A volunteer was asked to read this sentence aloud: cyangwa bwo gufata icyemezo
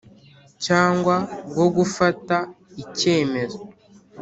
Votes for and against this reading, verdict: 3, 0, accepted